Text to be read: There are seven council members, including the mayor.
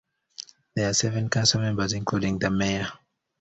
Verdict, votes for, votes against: accepted, 2, 0